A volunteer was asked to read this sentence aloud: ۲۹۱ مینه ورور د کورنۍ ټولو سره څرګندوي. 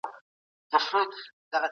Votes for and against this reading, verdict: 0, 2, rejected